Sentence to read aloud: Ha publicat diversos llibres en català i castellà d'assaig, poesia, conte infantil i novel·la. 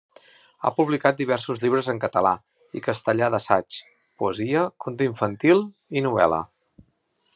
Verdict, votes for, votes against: accepted, 3, 0